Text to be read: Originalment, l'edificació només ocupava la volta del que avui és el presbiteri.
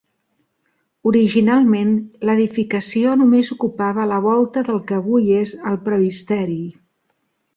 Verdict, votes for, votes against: rejected, 1, 3